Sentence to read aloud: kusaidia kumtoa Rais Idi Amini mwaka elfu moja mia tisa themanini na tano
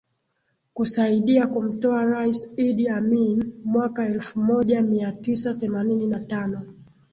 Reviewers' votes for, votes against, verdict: 2, 0, accepted